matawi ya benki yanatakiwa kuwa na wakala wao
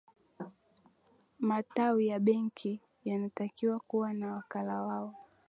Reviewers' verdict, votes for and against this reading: accepted, 3, 0